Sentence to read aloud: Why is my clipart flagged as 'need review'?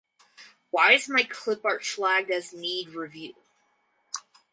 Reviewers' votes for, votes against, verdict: 2, 4, rejected